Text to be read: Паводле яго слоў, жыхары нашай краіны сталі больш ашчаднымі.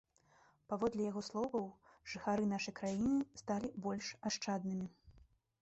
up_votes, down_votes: 0, 2